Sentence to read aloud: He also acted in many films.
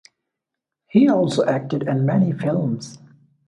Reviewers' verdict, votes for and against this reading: accepted, 2, 0